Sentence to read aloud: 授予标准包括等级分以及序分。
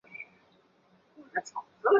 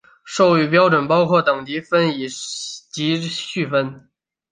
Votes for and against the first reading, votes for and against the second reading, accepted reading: 0, 4, 6, 1, second